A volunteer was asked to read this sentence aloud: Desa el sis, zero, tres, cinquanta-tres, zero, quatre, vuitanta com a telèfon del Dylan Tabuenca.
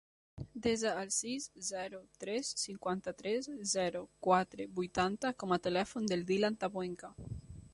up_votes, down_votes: 3, 0